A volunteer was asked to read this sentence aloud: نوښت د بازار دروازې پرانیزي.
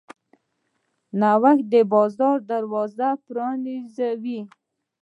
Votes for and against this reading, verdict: 1, 2, rejected